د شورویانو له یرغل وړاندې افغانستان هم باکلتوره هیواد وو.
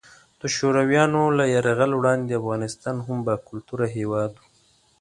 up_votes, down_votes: 2, 0